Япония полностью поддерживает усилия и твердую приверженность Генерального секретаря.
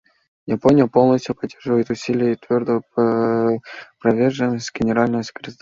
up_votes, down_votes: 1, 2